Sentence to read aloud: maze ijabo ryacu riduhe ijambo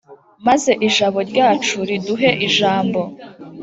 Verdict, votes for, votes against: accepted, 2, 0